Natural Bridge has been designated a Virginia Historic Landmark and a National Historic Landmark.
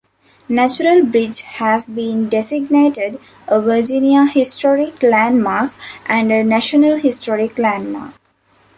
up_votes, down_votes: 2, 0